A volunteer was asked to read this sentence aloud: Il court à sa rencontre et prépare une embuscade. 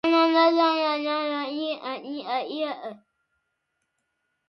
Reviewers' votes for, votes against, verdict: 0, 2, rejected